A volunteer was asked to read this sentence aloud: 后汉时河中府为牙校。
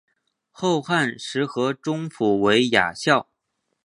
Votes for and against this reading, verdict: 4, 1, accepted